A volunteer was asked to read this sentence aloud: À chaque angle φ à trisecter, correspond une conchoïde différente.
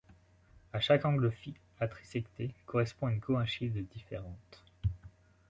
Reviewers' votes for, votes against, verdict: 1, 2, rejected